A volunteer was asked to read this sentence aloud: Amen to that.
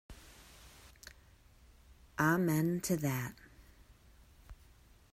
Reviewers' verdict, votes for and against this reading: rejected, 1, 2